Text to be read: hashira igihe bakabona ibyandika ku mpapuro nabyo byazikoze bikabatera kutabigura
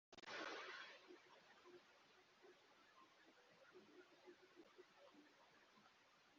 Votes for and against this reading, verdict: 1, 2, rejected